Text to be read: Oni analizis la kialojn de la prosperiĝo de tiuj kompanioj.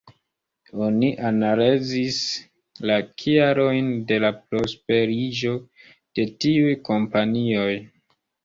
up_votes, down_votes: 0, 2